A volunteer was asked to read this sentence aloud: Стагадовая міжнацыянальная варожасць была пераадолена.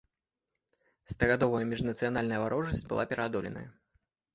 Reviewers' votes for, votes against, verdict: 2, 0, accepted